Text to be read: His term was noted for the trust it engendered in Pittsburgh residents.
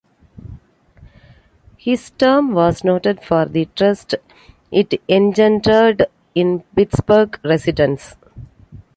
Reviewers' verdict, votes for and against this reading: rejected, 1, 2